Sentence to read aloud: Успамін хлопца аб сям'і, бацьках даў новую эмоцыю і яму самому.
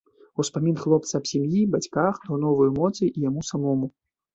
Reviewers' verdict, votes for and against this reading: rejected, 0, 2